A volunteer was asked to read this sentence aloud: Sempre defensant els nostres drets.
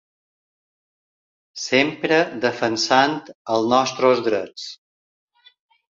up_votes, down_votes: 1, 2